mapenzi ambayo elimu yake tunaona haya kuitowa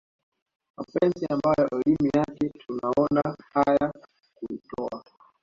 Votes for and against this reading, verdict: 2, 0, accepted